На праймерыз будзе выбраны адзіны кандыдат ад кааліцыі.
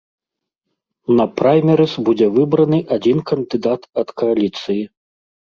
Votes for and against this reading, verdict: 0, 2, rejected